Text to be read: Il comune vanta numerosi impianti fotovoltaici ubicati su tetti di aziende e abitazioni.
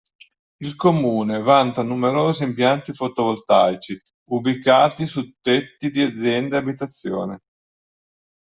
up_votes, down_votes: 2, 1